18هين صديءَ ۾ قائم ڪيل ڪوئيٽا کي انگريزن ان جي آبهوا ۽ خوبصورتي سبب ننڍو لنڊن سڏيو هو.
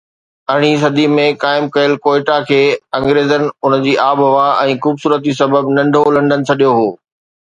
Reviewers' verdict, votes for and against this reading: rejected, 0, 2